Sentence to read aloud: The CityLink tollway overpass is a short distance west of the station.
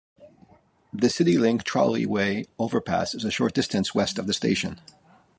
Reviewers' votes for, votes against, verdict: 0, 2, rejected